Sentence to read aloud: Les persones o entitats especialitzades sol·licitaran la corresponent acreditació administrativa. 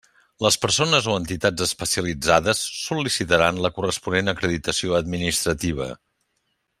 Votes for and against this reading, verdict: 3, 0, accepted